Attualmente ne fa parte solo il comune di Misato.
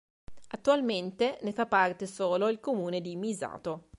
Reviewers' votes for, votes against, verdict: 2, 0, accepted